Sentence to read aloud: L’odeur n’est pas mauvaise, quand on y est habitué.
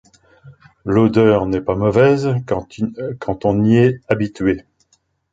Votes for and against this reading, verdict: 0, 2, rejected